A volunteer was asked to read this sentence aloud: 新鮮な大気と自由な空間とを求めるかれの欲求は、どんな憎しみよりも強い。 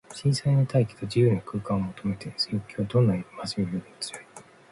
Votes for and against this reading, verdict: 2, 1, accepted